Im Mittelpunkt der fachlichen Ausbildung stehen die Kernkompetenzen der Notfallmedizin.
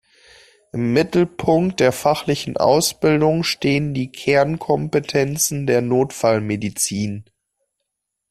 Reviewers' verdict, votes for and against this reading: accepted, 2, 0